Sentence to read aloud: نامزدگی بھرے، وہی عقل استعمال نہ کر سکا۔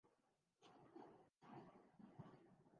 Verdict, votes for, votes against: rejected, 0, 2